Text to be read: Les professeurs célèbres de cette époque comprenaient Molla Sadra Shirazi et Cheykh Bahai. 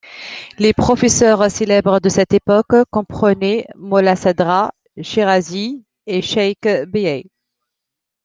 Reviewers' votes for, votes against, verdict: 2, 1, accepted